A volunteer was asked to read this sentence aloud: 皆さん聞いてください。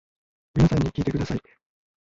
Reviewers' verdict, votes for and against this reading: rejected, 1, 2